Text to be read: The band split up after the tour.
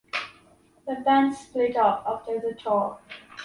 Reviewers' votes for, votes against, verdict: 2, 1, accepted